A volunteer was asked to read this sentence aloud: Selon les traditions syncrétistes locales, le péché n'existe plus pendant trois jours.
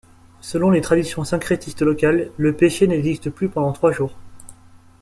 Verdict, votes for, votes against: accepted, 2, 0